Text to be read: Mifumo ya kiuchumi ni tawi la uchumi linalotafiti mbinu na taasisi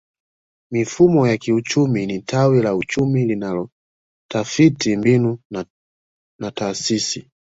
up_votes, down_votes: 0, 2